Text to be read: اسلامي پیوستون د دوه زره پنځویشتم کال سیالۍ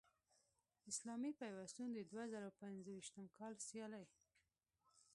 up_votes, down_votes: 1, 2